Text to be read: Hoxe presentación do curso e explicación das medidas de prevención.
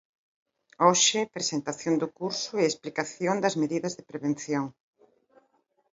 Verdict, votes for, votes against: accepted, 2, 0